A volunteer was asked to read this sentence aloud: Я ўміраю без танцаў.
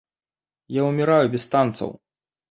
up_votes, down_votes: 2, 0